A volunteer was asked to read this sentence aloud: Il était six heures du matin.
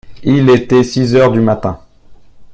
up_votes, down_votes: 2, 0